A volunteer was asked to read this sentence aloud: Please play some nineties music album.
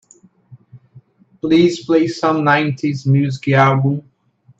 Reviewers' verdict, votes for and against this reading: rejected, 1, 2